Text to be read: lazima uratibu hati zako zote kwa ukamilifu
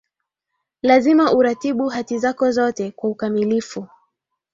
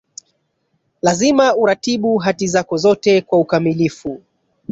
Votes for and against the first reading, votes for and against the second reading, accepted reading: 2, 0, 1, 2, first